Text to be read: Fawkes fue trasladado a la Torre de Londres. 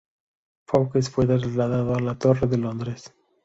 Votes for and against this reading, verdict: 0, 2, rejected